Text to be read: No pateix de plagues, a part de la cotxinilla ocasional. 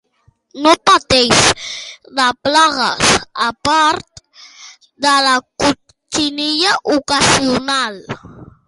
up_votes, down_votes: 2, 1